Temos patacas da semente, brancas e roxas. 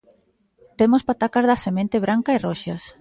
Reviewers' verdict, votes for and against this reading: rejected, 0, 2